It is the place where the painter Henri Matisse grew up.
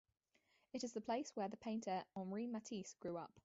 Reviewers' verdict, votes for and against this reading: rejected, 0, 2